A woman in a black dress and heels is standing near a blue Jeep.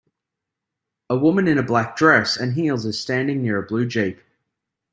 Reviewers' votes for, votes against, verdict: 2, 0, accepted